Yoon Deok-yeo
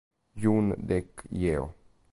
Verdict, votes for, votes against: rejected, 1, 2